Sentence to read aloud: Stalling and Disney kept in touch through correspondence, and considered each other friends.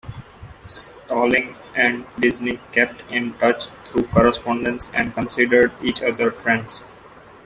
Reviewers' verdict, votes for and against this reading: accepted, 2, 0